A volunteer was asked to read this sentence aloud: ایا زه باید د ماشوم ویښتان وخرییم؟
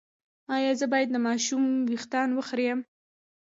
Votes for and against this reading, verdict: 0, 2, rejected